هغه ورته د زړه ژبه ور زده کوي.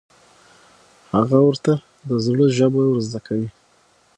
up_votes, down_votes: 6, 0